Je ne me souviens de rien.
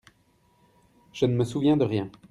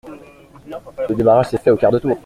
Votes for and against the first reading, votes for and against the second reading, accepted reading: 2, 0, 0, 2, first